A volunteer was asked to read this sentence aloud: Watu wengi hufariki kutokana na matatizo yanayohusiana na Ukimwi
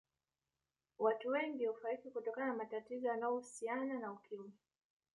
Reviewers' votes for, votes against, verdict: 3, 0, accepted